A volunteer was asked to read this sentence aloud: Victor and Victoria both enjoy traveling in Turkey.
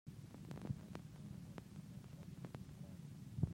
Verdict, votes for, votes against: rejected, 0, 2